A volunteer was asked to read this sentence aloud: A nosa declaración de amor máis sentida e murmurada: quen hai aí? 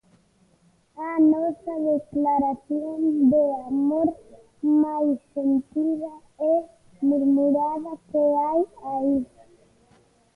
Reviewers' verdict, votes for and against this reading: rejected, 0, 2